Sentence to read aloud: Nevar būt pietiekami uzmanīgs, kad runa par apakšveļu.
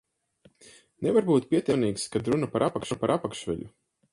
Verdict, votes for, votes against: rejected, 0, 4